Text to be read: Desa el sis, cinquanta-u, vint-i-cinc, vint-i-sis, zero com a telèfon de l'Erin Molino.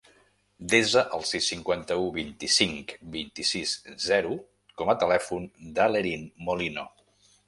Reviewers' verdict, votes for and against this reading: rejected, 0, 2